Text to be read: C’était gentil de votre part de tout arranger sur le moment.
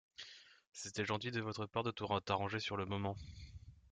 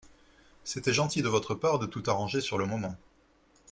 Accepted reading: second